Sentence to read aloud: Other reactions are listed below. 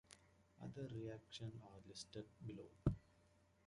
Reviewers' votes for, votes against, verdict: 2, 1, accepted